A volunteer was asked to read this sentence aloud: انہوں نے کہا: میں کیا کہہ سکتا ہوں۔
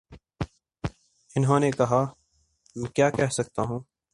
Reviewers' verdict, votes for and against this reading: accepted, 3, 1